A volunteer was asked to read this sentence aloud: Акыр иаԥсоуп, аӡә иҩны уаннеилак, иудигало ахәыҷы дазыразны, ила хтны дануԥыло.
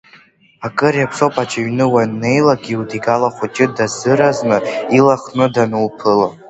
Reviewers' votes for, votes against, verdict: 2, 0, accepted